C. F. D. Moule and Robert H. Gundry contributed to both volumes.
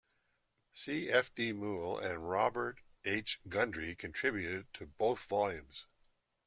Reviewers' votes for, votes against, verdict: 2, 0, accepted